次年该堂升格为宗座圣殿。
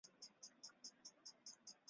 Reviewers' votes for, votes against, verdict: 0, 2, rejected